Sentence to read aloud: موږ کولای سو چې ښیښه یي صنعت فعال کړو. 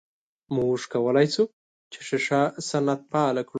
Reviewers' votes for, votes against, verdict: 1, 2, rejected